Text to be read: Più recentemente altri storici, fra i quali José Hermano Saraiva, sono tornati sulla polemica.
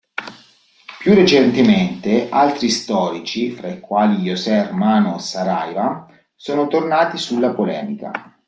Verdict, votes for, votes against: accepted, 2, 0